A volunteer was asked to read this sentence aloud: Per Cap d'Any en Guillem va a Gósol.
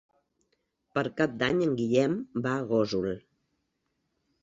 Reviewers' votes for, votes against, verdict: 4, 0, accepted